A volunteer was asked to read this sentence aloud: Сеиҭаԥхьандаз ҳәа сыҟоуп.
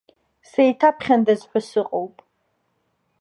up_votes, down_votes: 2, 0